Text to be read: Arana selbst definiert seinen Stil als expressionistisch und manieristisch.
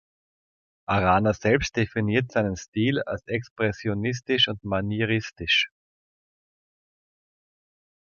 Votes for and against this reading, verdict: 2, 0, accepted